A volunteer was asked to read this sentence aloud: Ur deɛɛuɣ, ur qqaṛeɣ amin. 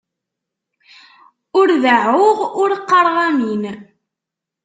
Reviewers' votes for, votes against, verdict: 2, 0, accepted